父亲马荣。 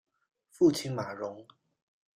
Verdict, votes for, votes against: accepted, 2, 0